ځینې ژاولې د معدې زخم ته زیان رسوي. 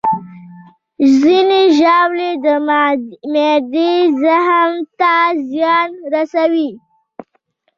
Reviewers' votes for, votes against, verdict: 1, 2, rejected